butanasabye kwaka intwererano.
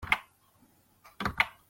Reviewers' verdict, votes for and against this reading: rejected, 0, 2